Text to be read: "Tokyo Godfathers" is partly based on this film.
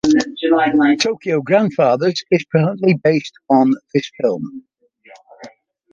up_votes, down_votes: 1, 2